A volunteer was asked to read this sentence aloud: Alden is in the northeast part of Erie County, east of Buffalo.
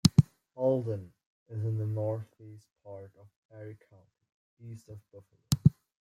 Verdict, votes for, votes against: rejected, 0, 2